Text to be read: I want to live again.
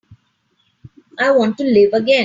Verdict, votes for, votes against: accepted, 3, 0